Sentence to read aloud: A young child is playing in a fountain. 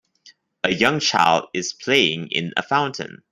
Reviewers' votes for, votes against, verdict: 2, 0, accepted